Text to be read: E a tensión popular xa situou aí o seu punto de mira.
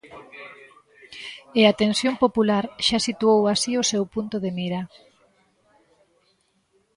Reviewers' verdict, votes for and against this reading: rejected, 1, 2